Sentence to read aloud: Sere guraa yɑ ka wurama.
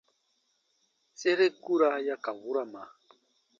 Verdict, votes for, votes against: rejected, 0, 2